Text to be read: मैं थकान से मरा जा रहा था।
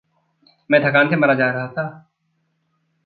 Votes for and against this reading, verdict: 0, 2, rejected